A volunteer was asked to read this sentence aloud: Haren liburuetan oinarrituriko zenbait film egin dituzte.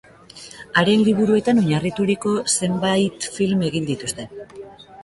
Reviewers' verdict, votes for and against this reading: accepted, 2, 0